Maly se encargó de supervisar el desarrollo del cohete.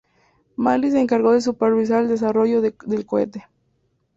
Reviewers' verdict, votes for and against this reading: rejected, 0, 2